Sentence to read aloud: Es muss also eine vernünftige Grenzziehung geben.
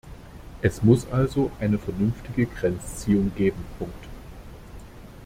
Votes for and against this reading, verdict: 0, 2, rejected